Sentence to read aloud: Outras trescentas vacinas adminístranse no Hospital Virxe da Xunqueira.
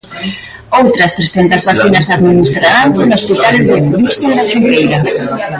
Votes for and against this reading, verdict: 0, 2, rejected